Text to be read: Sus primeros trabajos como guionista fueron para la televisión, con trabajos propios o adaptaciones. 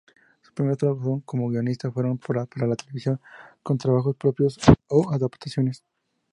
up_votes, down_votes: 2, 0